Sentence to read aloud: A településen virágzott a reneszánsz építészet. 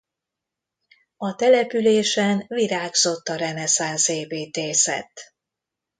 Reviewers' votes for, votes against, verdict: 2, 0, accepted